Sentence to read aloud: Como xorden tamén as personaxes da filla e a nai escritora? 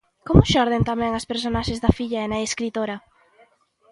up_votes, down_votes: 2, 0